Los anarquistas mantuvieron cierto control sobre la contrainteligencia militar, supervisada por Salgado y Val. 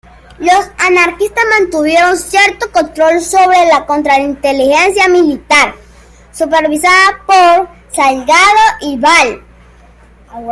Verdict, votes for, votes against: accepted, 2, 0